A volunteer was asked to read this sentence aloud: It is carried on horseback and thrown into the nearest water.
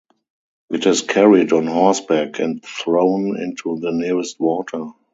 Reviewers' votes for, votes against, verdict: 0, 2, rejected